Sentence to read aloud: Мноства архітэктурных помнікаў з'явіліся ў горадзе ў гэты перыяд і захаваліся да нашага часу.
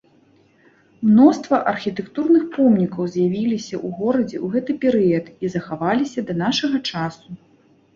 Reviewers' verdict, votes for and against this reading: rejected, 1, 2